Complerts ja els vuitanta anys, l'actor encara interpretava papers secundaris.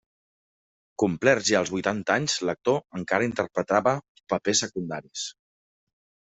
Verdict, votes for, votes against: accepted, 2, 0